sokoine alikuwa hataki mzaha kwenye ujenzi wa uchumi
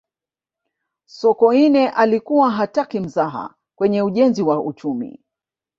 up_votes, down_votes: 1, 2